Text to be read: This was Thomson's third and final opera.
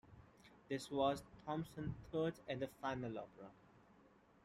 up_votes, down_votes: 2, 1